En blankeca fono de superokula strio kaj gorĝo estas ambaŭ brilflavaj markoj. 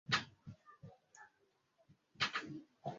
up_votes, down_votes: 0, 2